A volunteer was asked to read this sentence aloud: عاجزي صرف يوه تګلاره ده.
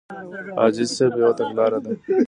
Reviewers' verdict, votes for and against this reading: accepted, 2, 0